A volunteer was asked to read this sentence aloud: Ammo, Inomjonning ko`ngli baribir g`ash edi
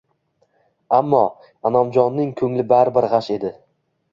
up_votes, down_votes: 2, 0